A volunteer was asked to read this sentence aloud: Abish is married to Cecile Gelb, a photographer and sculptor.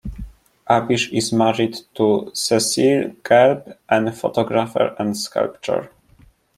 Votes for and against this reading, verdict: 0, 2, rejected